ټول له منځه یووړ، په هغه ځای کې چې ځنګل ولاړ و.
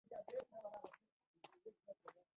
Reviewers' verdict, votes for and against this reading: rejected, 1, 2